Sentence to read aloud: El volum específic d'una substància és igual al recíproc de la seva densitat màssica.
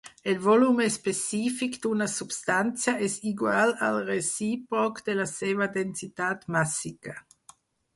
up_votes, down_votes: 2, 4